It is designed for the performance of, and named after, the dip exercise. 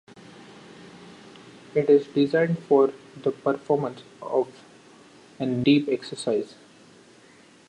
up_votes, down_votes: 0, 3